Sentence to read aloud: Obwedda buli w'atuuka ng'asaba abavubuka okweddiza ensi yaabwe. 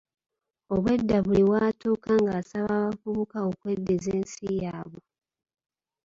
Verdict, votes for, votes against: rejected, 1, 2